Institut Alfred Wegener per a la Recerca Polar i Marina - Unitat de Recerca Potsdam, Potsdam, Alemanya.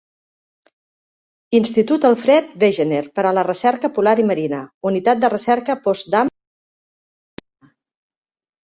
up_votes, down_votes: 0, 2